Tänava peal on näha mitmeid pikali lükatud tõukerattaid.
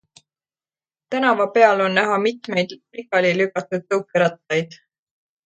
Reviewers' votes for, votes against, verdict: 2, 0, accepted